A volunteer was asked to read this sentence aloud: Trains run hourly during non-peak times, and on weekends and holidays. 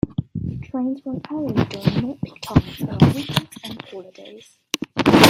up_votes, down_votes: 1, 2